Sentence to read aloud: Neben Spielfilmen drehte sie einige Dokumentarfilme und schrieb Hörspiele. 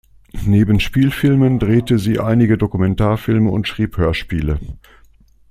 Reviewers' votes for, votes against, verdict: 2, 0, accepted